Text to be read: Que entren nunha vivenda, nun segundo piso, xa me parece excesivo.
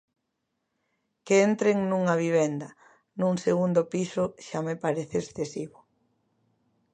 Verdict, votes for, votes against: accepted, 2, 0